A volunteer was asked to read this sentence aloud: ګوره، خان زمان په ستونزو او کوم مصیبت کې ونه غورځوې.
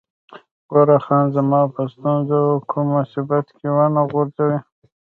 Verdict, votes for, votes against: rejected, 0, 2